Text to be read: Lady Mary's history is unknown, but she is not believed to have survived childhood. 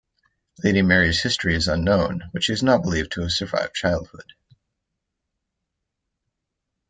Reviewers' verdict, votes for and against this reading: accepted, 2, 0